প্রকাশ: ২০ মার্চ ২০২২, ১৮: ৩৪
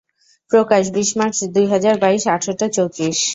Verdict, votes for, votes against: rejected, 0, 2